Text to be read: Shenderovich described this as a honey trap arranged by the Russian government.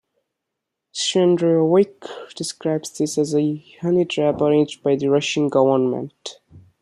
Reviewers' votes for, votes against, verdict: 1, 2, rejected